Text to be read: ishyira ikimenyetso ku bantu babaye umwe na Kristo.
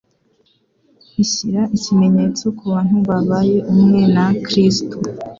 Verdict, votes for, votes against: accepted, 2, 0